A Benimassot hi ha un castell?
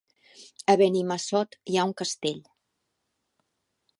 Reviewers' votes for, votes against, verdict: 1, 2, rejected